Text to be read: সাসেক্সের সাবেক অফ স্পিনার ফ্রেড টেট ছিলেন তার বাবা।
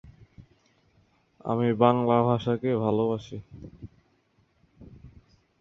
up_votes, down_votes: 0, 2